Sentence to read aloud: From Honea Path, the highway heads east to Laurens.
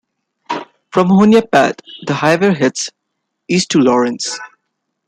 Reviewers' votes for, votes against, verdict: 2, 0, accepted